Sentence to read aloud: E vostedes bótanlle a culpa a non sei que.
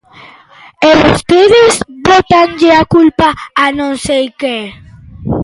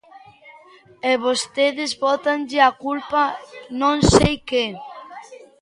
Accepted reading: first